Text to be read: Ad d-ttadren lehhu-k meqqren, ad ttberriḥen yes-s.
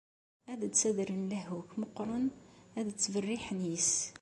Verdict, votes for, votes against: accepted, 2, 0